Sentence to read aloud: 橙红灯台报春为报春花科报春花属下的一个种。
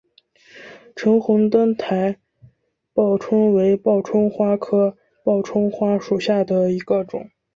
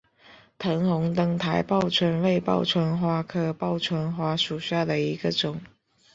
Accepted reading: first